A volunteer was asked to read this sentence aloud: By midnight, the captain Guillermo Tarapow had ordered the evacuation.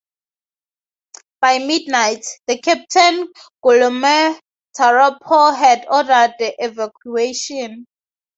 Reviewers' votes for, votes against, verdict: 0, 2, rejected